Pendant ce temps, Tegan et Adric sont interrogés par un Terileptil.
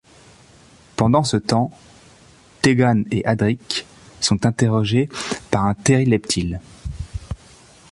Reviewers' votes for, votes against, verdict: 1, 2, rejected